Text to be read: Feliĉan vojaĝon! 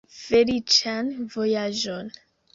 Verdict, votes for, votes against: rejected, 0, 2